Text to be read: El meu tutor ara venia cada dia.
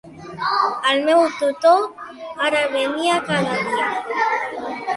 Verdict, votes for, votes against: rejected, 1, 2